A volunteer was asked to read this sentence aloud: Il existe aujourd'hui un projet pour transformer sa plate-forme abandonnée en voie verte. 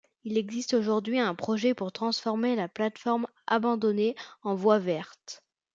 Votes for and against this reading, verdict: 2, 0, accepted